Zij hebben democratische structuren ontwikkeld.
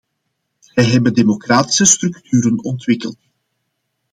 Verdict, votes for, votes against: accepted, 2, 0